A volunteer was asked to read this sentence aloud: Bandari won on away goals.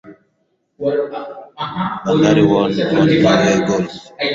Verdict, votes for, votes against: accepted, 4, 2